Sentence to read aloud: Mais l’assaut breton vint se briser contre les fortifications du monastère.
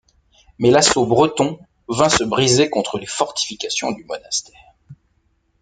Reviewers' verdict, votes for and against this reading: accepted, 2, 0